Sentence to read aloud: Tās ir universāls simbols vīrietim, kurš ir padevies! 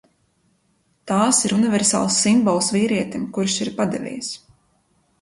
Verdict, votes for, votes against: accepted, 2, 0